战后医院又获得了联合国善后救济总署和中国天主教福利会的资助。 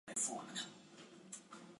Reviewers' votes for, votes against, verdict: 0, 2, rejected